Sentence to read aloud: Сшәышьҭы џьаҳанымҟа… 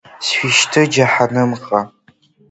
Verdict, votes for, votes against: accepted, 2, 0